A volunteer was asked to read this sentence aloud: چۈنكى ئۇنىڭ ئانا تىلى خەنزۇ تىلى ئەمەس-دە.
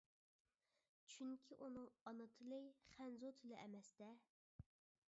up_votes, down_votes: 2, 1